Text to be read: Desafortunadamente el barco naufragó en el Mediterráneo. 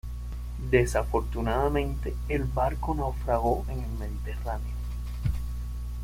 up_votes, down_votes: 2, 0